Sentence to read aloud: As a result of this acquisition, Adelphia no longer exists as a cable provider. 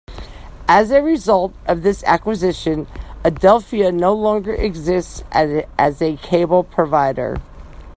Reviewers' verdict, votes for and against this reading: rejected, 1, 2